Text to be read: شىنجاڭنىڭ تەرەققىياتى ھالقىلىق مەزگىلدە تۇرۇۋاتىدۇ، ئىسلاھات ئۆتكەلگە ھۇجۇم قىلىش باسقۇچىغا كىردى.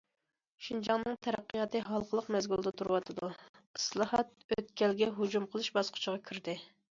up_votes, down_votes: 2, 0